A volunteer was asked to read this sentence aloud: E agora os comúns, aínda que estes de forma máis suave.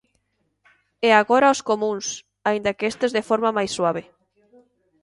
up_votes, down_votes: 2, 0